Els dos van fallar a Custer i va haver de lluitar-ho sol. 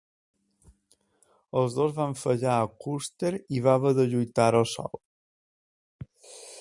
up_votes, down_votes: 2, 0